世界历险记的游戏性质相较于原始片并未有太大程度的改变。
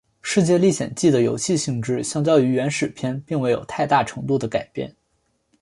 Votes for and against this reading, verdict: 2, 0, accepted